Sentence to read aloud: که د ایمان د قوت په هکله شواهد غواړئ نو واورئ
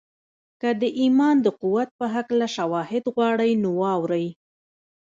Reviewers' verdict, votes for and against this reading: rejected, 1, 2